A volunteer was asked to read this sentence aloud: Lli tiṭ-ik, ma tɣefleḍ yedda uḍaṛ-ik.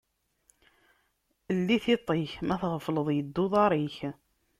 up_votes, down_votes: 2, 0